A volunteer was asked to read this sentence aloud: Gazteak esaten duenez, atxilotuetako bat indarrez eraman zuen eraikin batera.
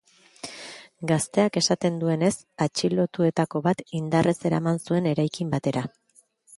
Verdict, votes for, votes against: accepted, 2, 0